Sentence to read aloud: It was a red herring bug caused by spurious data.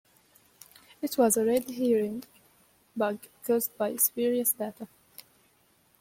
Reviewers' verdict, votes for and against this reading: accepted, 2, 1